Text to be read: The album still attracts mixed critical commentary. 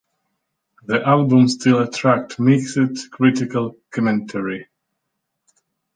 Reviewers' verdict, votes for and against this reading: rejected, 0, 2